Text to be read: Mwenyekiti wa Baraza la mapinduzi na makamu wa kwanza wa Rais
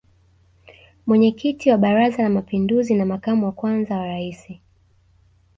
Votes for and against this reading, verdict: 2, 0, accepted